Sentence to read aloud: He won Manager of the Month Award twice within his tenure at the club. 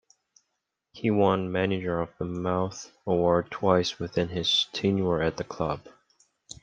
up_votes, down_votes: 2, 1